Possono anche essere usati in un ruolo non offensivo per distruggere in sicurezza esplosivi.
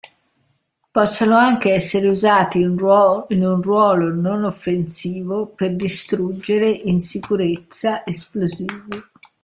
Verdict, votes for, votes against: rejected, 0, 2